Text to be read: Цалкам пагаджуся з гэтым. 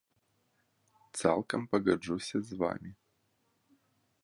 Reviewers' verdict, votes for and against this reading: rejected, 0, 2